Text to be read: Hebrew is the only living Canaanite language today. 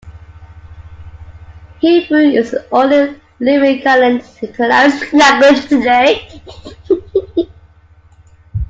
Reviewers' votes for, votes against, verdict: 0, 2, rejected